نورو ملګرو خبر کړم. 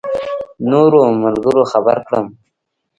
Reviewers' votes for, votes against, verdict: 0, 2, rejected